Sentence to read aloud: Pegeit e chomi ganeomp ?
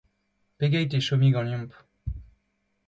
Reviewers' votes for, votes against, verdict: 2, 0, accepted